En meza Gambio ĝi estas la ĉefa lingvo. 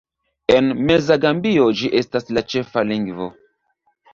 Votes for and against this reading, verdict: 3, 1, accepted